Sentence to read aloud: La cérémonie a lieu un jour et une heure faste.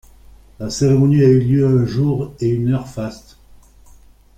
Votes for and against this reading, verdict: 3, 2, accepted